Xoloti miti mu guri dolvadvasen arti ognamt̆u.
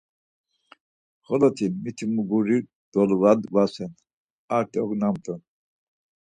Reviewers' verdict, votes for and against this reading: accepted, 4, 0